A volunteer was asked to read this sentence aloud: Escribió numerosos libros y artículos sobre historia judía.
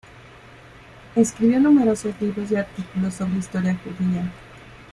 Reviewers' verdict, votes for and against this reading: rejected, 1, 2